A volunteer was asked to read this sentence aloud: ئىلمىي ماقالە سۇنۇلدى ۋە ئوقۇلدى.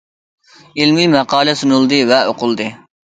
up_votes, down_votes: 2, 0